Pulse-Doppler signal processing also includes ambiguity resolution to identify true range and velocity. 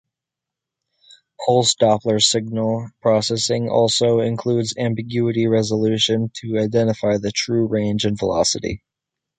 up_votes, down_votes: 2, 0